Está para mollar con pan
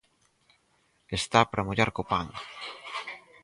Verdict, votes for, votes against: rejected, 0, 4